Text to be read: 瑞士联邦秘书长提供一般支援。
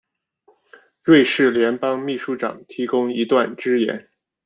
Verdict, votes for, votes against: rejected, 0, 2